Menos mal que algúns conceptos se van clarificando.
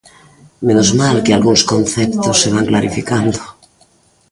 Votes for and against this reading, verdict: 0, 2, rejected